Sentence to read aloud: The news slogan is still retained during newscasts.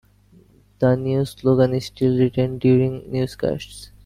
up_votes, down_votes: 2, 1